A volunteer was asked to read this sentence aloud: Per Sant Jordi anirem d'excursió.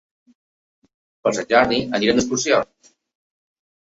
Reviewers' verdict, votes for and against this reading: accepted, 2, 0